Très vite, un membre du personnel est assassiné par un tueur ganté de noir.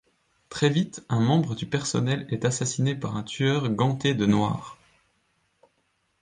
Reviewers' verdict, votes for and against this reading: accepted, 2, 0